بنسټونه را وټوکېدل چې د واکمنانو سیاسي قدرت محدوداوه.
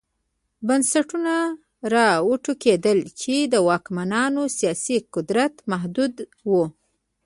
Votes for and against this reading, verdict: 0, 2, rejected